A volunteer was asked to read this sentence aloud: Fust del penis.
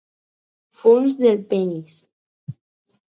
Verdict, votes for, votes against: accepted, 4, 2